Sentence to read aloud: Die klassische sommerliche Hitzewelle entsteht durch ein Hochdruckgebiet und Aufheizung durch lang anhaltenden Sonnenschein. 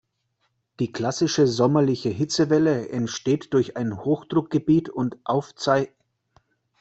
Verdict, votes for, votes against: rejected, 0, 2